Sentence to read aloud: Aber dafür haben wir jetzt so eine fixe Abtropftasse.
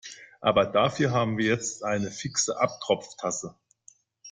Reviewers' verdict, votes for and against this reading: rejected, 0, 2